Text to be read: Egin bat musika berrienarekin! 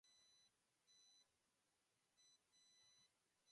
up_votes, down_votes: 0, 2